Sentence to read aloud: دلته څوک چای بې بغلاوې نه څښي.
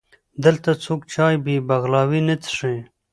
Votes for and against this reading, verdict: 2, 0, accepted